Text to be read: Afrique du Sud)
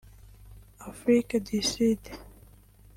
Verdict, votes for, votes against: rejected, 0, 2